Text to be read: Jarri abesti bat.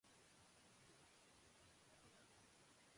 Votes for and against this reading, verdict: 0, 3, rejected